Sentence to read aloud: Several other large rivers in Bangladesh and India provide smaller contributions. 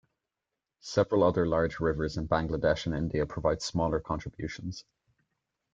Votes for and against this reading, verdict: 2, 0, accepted